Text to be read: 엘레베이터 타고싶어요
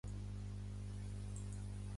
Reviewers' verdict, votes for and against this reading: rejected, 0, 2